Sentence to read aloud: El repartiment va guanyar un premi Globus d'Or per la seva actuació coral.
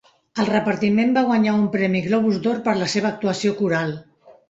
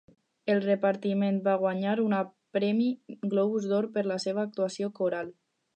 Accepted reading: first